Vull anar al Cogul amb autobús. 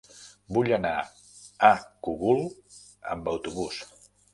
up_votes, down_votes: 0, 2